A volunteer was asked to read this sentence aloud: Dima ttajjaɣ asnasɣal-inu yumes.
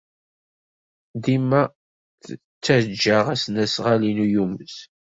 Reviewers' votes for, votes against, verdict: 2, 1, accepted